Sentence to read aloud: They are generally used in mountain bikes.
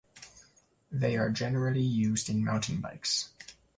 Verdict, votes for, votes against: accepted, 2, 0